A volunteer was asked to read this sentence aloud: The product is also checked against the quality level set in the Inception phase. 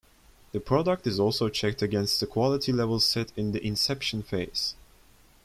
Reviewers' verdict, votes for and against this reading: accepted, 2, 0